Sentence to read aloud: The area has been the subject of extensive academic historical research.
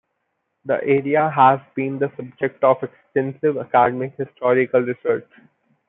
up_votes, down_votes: 2, 0